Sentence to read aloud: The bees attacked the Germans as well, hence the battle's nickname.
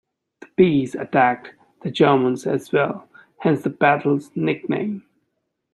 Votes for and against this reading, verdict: 2, 0, accepted